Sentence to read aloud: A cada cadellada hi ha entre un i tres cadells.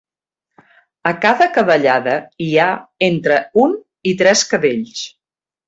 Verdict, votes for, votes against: accepted, 2, 0